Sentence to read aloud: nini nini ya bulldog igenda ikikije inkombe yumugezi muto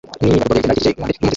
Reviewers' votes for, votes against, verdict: 0, 2, rejected